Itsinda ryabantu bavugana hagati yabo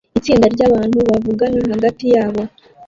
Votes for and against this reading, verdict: 0, 2, rejected